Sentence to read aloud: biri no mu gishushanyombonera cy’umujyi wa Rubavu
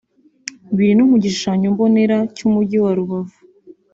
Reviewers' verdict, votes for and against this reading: accepted, 3, 0